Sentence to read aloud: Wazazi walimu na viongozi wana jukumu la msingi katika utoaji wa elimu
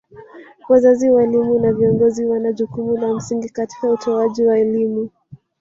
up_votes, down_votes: 1, 2